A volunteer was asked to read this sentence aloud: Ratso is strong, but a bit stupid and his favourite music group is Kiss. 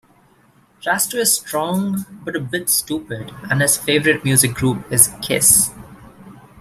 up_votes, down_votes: 1, 2